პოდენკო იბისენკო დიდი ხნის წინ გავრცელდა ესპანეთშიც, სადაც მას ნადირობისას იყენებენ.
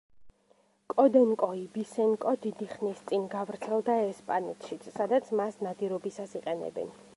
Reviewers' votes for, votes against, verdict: 1, 2, rejected